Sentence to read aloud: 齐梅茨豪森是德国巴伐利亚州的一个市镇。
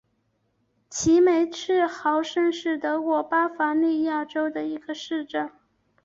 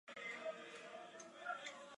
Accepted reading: first